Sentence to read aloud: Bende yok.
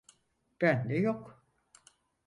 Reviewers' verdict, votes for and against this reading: accepted, 4, 0